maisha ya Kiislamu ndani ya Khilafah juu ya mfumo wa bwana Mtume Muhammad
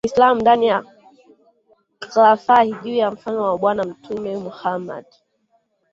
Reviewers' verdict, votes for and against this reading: rejected, 1, 2